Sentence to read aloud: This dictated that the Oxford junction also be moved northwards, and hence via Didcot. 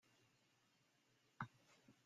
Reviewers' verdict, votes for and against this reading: rejected, 0, 2